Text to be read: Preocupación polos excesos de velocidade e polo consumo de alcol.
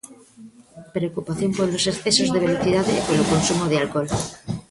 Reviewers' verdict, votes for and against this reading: rejected, 1, 2